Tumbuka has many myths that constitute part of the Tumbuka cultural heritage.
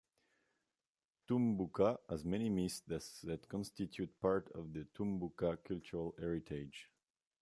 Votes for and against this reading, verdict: 2, 1, accepted